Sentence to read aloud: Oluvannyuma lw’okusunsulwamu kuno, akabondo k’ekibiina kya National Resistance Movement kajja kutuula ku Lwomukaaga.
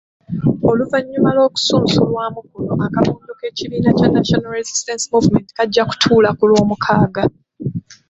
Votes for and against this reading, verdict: 1, 2, rejected